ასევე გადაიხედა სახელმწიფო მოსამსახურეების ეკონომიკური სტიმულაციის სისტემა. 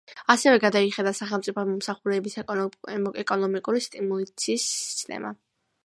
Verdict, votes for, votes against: accepted, 2, 1